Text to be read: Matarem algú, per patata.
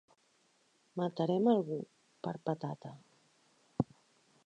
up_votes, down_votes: 4, 0